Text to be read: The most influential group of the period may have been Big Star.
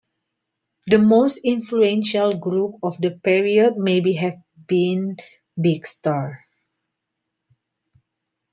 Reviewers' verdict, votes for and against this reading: rejected, 1, 2